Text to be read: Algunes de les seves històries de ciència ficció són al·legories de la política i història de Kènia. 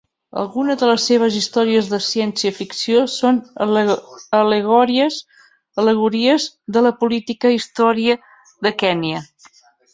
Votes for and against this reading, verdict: 1, 3, rejected